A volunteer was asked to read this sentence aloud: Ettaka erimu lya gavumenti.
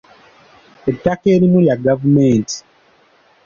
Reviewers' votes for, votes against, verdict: 2, 0, accepted